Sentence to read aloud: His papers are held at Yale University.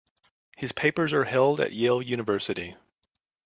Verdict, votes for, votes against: accepted, 2, 0